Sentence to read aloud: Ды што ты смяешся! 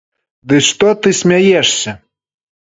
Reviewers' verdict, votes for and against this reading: accepted, 3, 0